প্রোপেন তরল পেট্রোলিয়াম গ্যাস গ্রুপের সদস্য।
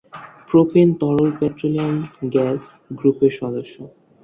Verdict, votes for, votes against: accepted, 8, 1